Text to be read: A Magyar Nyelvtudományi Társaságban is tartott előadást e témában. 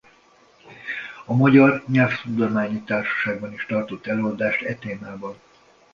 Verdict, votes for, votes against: accepted, 2, 0